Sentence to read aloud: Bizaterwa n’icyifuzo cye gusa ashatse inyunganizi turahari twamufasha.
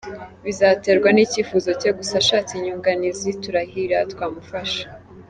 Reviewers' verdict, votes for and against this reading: rejected, 0, 2